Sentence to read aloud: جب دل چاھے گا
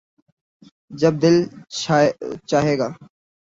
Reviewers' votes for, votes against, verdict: 5, 8, rejected